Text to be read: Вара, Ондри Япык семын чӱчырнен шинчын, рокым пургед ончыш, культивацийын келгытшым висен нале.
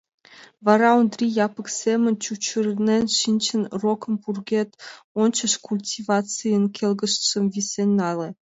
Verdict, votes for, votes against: rejected, 1, 3